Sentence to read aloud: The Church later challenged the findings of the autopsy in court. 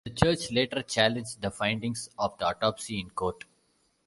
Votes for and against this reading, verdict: 2, 0, accepted